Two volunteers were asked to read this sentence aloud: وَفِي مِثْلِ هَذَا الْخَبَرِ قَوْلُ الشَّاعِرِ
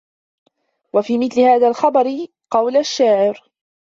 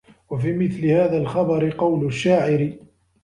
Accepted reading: second